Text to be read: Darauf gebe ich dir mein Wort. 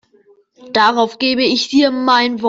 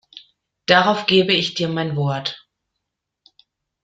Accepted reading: second